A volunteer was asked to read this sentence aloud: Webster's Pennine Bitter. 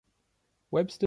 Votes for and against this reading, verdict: 0, 2, rejected